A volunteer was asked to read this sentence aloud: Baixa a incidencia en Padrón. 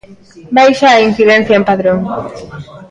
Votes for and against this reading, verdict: 2, 1, accepted